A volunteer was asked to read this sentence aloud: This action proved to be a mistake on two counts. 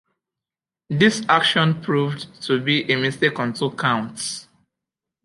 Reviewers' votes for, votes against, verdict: 1, 2, rejected